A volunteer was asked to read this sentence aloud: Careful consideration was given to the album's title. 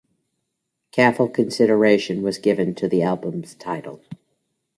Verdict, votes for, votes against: accepted, 2, 0